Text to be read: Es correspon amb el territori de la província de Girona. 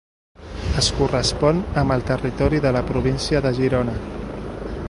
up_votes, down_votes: 0, 2